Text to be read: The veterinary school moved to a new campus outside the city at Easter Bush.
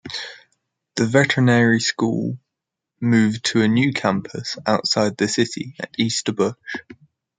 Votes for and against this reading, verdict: 1, 2, rejected